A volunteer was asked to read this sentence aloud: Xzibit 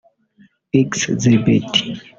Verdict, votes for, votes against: rejected, 0, 2